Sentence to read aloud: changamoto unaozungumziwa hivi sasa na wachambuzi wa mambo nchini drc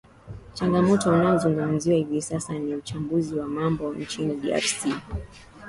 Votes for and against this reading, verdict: 5, 1, accepted